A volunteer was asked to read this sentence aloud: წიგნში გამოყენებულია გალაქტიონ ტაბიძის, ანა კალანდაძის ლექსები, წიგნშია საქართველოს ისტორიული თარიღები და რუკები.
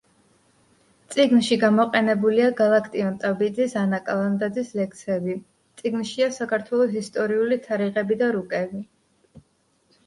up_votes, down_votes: 2, 0